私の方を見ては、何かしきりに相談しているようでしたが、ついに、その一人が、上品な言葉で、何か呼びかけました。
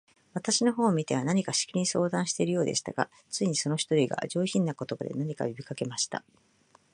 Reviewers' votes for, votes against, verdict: 4, 1, accepted